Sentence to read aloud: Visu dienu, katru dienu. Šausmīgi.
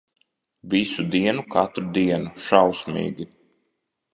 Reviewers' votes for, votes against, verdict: 2, 0, accepted